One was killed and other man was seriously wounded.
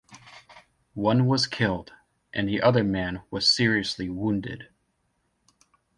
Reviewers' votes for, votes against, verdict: 1, 2, rejected